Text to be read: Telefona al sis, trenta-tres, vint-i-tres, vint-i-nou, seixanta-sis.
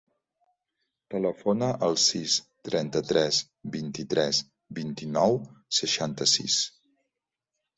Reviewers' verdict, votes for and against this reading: accepted, 3, 0